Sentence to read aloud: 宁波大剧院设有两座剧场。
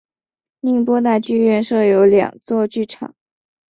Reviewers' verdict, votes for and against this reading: accepted, 2, 0